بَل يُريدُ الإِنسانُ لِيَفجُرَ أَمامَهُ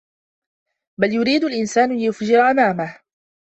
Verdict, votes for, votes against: rejected, 0, 2